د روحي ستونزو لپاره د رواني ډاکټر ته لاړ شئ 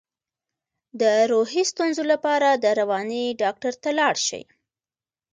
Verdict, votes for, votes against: rejected, 1, 2